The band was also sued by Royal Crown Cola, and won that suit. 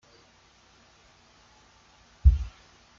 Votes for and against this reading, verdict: 0, 2, rejected